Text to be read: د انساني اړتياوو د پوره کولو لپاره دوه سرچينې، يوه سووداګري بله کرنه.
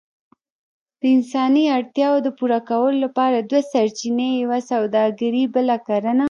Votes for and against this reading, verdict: 0, 2, rejected